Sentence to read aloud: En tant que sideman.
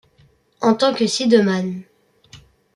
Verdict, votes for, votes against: rejected, 1, 2